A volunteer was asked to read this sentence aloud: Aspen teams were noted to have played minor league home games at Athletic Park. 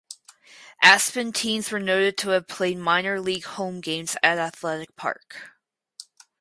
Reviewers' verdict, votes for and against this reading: rejected, 2, 4